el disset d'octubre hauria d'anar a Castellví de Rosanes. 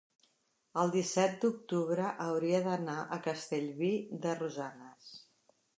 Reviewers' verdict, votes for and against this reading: accepted, 2, 0